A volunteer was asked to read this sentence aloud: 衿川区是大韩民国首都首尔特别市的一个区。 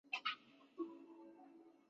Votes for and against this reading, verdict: 4, 5, rejected